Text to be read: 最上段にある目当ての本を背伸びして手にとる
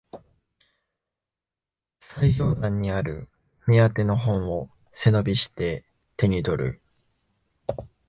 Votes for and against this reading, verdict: 2, 0, accepted